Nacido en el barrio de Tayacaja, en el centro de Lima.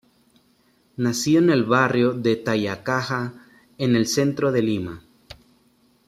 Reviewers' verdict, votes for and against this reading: accepted, 2, 1